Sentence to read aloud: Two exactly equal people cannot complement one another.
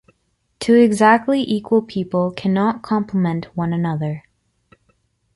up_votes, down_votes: 2, 0